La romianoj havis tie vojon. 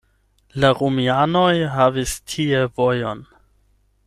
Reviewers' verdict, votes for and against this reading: accepted, 8, 0